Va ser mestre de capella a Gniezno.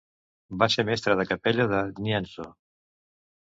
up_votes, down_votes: 0, 2